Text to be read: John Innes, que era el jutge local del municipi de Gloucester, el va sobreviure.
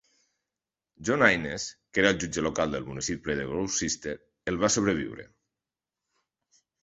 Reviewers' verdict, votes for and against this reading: accepted, 2, 0